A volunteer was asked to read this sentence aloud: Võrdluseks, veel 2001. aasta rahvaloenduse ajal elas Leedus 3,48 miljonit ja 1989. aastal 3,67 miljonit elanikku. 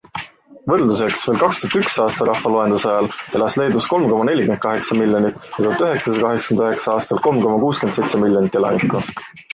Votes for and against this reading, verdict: 0, 2, rejected